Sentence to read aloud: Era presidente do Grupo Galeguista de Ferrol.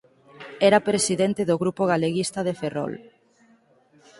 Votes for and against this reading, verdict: 4, 0, accepted